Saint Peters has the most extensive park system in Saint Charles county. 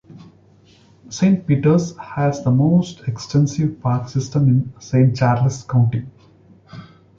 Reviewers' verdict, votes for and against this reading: accepted, 2, 1